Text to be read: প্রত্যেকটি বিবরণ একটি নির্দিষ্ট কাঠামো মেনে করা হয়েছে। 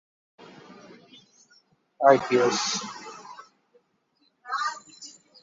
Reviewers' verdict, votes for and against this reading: rejected, 0, 2